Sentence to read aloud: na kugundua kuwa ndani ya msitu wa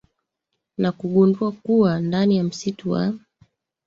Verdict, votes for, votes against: rejected, 0, 2